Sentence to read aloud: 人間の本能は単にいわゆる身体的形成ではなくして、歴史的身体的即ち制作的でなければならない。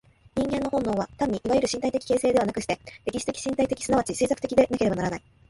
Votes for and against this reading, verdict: 2, 0, accepted